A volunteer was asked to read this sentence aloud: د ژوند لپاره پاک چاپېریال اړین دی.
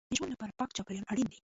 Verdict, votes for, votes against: rejected, 0, 2